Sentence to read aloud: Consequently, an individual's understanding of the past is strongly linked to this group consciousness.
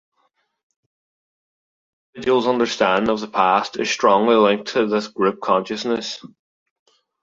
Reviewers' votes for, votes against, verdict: 1, 2, rejected